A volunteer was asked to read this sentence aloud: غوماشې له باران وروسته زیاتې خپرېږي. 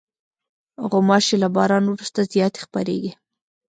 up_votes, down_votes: 2, 0